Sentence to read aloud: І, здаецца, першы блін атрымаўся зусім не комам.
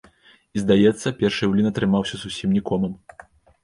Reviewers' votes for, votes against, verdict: 1, 2, rejected